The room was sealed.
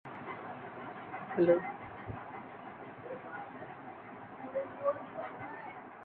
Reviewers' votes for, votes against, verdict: 0, 2, rejected